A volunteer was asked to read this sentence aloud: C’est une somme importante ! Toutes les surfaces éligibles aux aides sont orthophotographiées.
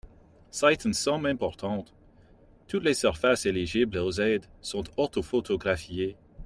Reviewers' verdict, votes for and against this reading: accepted, 2, 0